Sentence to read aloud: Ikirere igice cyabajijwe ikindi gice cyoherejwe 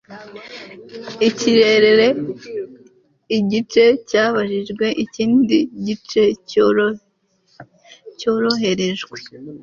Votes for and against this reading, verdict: 1, 2, rejected